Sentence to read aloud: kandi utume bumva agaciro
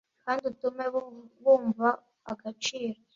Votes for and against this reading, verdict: 1, 2, rejected